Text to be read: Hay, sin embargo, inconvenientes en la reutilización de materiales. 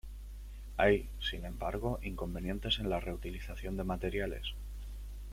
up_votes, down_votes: 2, 0